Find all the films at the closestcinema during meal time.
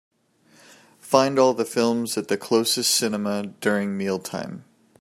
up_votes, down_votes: 2, 1